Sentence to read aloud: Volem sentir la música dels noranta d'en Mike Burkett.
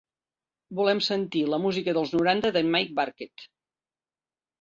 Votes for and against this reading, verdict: 3, 0, accepted